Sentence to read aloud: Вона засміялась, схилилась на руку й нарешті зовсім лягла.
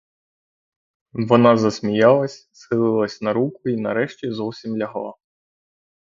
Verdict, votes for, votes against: rejected, 0, 3